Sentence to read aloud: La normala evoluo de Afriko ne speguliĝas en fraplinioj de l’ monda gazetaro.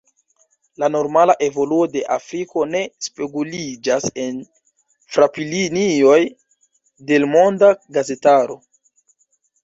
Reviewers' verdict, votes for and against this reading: accepted, 2, 1